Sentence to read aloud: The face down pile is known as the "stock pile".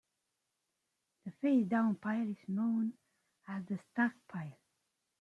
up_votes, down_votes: 2, 1